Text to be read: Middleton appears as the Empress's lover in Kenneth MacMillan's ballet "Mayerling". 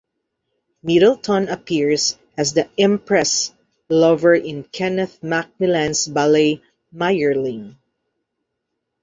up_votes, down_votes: 1, 2